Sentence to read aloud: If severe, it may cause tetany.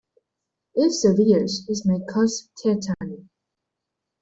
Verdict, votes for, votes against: rejected, 0, 2